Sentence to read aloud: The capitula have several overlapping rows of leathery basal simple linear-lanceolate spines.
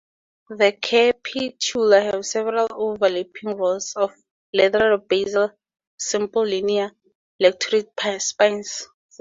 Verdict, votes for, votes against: accepted, 2, 0